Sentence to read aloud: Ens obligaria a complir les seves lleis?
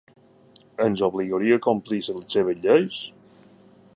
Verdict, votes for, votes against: accepted, 2, 0